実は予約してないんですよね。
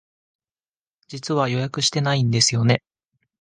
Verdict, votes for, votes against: accepted, 2, 0